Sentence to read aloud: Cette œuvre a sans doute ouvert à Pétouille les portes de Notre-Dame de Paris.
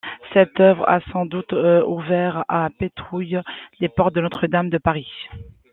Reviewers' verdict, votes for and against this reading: accepted, 2, 0